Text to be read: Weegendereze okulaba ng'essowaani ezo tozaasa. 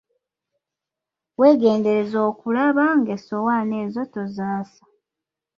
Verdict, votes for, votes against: accepted, 2, 1